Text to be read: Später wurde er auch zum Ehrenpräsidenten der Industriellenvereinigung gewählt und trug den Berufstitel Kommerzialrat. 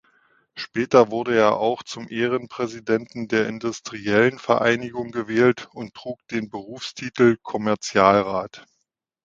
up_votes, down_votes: 2, 0